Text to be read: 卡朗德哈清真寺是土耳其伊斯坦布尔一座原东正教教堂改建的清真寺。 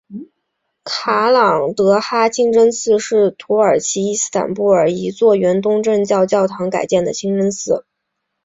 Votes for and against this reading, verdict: 3, 0, accepted